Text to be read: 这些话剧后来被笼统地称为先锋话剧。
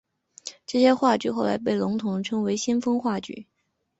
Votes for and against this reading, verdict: 6, 0, accepted